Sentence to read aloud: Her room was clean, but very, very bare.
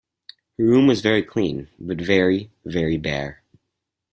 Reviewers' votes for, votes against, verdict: 2, 4, rejected